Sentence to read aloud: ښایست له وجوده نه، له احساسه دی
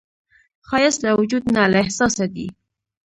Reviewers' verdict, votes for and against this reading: rejected, 0, 2